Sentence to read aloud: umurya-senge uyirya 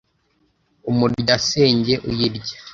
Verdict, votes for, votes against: accepted, 2, 0